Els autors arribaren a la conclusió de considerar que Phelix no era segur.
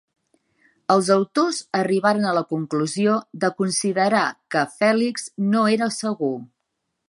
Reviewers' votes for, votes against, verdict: 3, 0, accepted